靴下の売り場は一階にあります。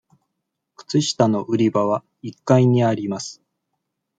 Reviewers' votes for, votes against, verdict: 2, 1, accepted